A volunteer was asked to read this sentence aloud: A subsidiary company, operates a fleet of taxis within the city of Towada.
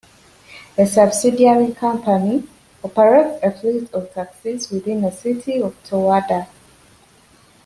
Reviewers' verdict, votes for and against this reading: rejected, 0, 2